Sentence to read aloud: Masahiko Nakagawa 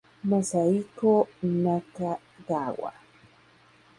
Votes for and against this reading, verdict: 2, 0, accepted